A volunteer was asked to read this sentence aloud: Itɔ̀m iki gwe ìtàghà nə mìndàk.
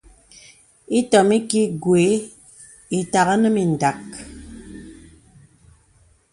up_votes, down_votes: 2, 0